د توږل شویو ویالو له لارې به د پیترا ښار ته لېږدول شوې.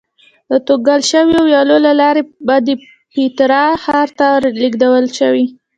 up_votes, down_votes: 1, 2